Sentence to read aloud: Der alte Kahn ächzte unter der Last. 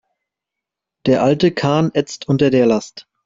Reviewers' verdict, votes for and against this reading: rejected, 0, 3